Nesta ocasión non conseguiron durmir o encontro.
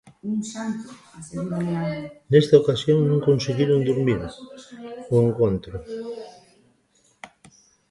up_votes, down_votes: 0, 2